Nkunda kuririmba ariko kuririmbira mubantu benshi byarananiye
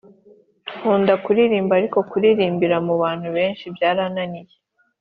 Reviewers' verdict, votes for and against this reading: accepted, 2, 0